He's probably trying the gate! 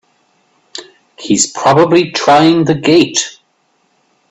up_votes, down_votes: 2, 0